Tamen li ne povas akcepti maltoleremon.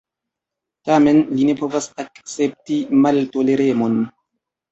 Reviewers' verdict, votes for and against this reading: accepted, 2, 1